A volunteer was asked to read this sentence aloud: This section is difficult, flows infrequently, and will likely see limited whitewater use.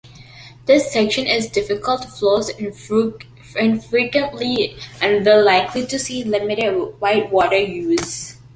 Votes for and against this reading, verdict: 2, 0, accepted